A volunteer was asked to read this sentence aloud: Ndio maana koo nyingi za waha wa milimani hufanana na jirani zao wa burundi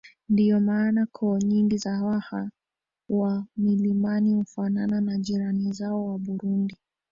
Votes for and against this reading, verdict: 0, 2, rejected